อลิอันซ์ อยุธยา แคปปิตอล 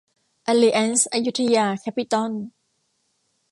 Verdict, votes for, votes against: accepted, 2, 0